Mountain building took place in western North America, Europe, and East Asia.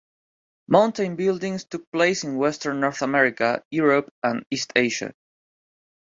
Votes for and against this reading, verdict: 2, 1, accepted